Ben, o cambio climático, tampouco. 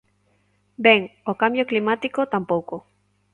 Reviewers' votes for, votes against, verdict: 2, 0, accepted